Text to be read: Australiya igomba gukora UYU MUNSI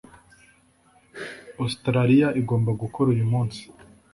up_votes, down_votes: 2, 0